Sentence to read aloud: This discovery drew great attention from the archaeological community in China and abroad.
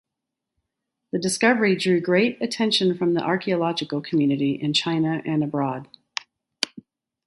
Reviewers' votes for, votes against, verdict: 3, 3, rejected